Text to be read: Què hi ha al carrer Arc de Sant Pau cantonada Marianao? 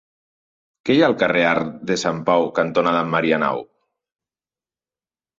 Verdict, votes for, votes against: accepted, 2, 0